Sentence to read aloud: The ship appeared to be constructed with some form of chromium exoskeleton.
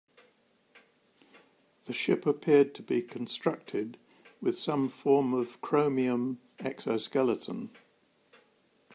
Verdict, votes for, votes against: accepted, 2, 0